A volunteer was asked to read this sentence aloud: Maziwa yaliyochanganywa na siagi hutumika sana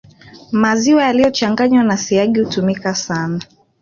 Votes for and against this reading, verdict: 1, 2, rejected